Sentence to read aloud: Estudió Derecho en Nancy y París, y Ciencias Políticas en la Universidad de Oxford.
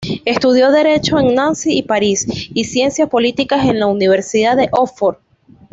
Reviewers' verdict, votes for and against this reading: accepted, 2, 0